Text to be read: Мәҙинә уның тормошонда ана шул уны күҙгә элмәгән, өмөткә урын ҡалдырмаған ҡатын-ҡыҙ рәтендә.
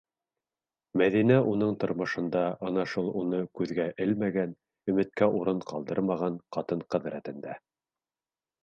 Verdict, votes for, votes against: accepted, 2, 0